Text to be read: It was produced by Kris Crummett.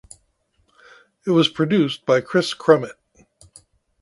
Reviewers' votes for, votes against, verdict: 2, 1, accepted